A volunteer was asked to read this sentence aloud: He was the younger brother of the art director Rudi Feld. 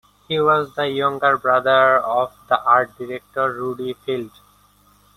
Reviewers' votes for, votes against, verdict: 2, 0, accepted